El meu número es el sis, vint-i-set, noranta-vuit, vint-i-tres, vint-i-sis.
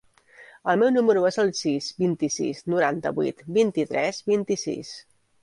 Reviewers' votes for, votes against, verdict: 0, 2, rejected